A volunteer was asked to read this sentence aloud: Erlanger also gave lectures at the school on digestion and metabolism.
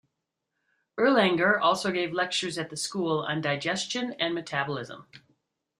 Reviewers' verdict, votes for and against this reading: accepted, 2, 0